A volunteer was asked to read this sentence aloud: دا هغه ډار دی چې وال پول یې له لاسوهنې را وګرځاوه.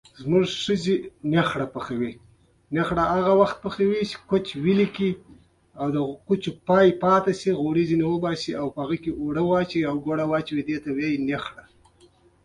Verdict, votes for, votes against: rejected, 1, 2